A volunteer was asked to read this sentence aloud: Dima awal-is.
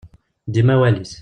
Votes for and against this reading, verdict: 1, 2, rejected